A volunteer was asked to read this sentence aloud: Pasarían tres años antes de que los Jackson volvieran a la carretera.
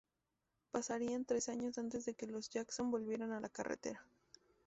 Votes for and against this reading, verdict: 0, 2, rejected